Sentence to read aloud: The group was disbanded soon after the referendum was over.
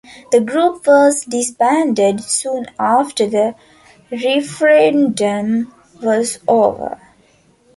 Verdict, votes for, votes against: accepted, 2, 0